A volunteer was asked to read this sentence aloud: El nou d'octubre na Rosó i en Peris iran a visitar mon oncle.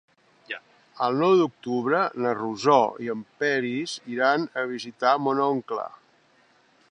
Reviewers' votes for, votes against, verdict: 1, 2, rejected